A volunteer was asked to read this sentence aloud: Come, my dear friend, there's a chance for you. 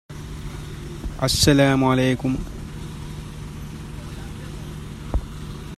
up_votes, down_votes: 0, 2